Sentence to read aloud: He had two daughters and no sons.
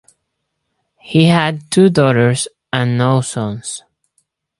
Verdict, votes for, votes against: accepted, 4, 0